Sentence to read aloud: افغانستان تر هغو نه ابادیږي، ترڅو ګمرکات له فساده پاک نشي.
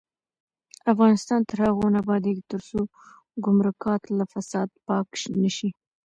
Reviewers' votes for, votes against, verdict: 1, 2, rejected